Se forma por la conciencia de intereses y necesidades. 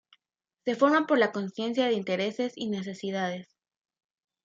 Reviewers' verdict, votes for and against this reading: rejected, 1, 2